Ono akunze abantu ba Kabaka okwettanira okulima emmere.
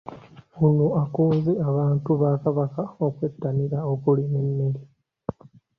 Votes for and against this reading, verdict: 2, 0, accepted